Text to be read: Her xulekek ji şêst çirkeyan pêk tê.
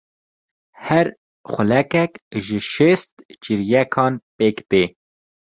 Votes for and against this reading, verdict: 1, 2, rejected